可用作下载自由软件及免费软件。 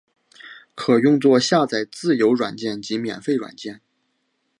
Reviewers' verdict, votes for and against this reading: accepted, 2, 0